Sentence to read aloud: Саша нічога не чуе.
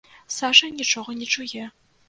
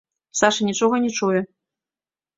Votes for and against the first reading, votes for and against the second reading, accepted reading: 0, 2, 2, 0, second